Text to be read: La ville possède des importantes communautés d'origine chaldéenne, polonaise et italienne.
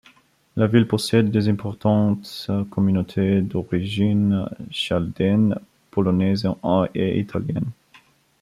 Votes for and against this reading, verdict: 0, 2, rejected